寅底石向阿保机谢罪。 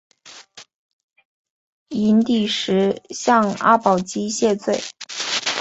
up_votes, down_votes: 2, 0